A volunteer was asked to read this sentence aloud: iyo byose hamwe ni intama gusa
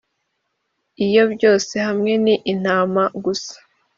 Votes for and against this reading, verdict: 2, 0, accepted